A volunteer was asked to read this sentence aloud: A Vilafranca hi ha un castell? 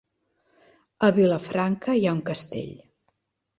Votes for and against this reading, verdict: 0, 2, rejected